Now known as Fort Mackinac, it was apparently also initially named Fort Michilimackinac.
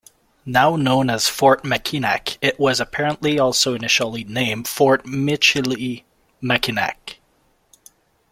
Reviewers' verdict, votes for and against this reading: accepted, 2, 1